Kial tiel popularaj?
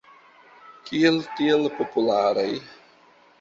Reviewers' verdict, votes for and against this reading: accepted, 3, 0